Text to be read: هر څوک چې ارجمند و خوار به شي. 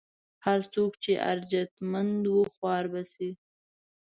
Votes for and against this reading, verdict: 0, 2, rejected